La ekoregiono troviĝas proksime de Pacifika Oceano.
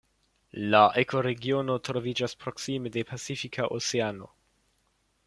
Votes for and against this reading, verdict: 1, 2, rejected